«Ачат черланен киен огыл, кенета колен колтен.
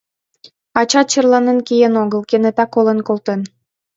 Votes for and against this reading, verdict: 2, 1, accepted